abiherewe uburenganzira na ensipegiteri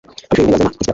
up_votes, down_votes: 1, 2